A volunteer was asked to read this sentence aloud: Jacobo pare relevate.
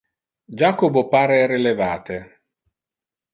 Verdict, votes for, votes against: accepted, 2, 0